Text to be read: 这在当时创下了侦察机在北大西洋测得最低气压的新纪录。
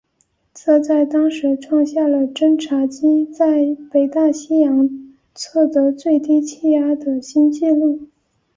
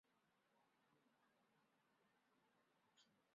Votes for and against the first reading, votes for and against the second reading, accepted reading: 3, 0, 0, 4, first